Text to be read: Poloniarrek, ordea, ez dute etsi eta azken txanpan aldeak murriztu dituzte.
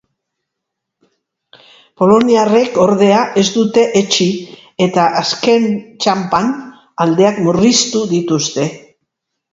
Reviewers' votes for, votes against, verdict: 0, 2, rejected